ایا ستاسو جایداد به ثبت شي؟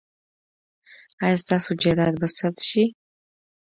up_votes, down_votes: 2, 0